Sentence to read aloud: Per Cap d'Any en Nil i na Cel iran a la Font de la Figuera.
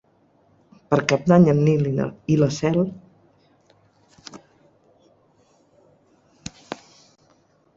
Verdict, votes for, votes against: rejected, 0, 4